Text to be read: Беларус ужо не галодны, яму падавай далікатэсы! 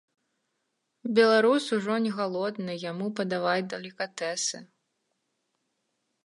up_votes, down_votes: 2, 0